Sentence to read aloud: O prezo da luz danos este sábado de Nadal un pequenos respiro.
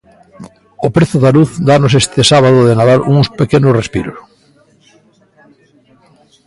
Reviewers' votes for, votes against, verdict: 0, 2, rejected